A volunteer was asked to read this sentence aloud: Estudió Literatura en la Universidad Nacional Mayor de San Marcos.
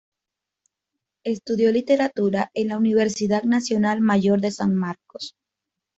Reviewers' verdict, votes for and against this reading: accepted, 2, 0